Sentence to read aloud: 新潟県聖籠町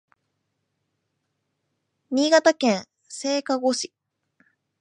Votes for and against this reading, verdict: 1, 2, rejected